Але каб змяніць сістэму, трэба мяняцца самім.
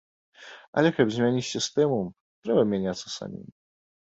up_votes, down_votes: 2, 0